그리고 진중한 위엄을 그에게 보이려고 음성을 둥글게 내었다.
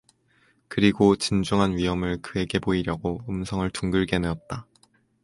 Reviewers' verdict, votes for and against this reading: accepted, 4, 0